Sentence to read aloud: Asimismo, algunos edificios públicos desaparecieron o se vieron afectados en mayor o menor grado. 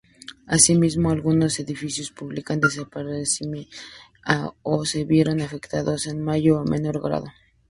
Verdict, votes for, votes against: accepted, 2, 0